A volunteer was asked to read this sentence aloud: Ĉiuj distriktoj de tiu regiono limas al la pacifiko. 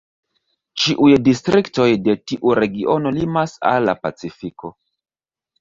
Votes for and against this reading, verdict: 2, 0, accepted